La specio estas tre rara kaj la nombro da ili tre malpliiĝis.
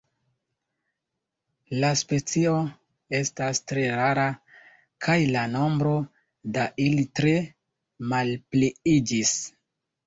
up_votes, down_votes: 0, 2